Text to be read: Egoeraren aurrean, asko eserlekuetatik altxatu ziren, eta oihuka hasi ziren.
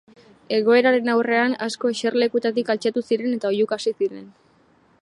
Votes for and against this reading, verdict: 2, 0, accepted